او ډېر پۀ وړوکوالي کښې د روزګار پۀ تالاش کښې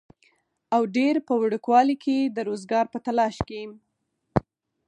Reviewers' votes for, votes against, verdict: 2, 4, rejected